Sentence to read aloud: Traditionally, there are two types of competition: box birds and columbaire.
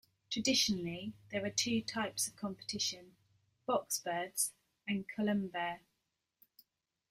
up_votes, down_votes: 1, 2